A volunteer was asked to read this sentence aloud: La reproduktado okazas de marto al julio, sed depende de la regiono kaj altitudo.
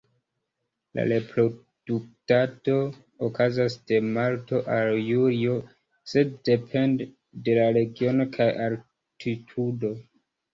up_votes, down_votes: 0, 2